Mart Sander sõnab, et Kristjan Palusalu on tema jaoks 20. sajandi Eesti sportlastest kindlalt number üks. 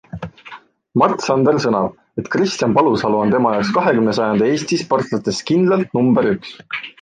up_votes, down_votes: 0, 2